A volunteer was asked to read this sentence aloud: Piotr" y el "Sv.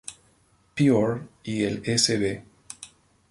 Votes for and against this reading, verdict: 0, 4, rejected